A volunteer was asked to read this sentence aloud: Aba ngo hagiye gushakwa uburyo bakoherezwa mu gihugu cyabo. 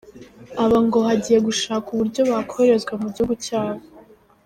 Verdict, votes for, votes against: accepted, 2, 0